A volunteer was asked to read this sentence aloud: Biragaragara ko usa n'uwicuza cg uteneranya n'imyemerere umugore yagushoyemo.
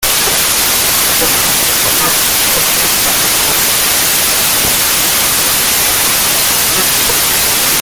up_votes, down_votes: 0, 2